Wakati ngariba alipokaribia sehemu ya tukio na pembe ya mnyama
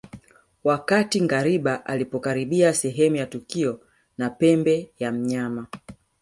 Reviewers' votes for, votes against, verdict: 0, 2, rejected